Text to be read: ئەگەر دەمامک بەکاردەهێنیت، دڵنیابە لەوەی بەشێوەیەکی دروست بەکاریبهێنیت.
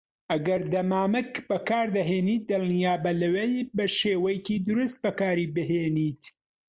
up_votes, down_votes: 2, 1